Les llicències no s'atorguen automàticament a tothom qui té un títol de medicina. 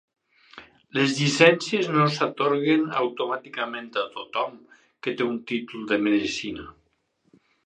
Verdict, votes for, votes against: rejected, 2, 2